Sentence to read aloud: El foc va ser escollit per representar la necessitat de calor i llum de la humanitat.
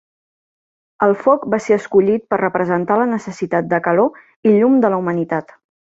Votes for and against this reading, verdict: 3, 0, accepted